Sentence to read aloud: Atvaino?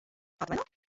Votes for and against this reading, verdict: 1, 2, rejected